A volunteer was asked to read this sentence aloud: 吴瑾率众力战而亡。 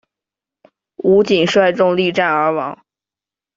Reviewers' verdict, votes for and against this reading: accepted, 2, 0